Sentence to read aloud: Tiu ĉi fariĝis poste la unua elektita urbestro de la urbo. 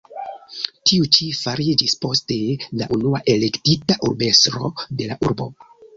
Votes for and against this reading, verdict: 1, 2, rejected